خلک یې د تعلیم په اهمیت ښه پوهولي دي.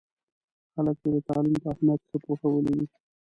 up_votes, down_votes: 1, 2